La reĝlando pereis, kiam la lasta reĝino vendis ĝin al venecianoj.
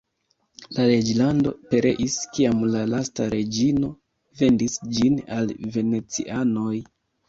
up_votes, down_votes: 3, 0